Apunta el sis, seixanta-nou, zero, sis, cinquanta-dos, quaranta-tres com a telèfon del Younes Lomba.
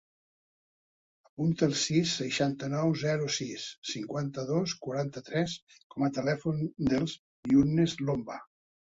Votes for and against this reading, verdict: 0, 2, rejected